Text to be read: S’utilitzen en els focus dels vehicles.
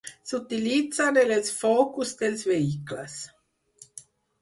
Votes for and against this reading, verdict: 4, 0, accepted